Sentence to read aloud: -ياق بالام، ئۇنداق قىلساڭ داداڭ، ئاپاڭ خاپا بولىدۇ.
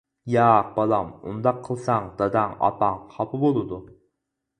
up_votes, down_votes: 4, 0